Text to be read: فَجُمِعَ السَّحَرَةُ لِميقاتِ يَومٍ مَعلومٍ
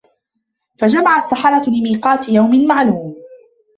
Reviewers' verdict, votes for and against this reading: accepted, 2, 0